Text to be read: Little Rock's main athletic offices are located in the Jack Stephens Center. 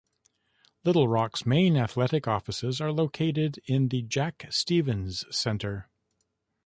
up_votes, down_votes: 0, 2